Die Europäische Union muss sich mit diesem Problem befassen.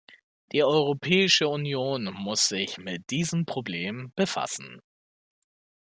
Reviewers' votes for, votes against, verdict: 2, 0, accepted